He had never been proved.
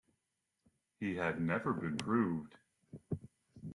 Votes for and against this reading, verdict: 2, 1, accepted